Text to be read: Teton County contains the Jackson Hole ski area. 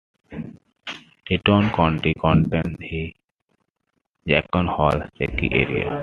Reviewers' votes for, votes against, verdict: 2, 1, accepted